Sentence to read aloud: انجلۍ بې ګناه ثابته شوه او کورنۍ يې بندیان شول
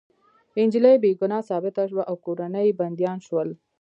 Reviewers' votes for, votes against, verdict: 0, 2, rejected